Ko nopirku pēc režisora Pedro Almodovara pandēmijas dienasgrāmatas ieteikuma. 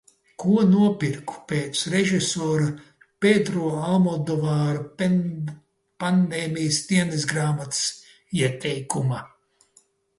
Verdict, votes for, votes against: rejected, 0, 2